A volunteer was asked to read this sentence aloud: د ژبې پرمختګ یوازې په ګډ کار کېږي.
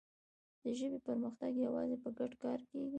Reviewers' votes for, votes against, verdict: 1, 2, rejected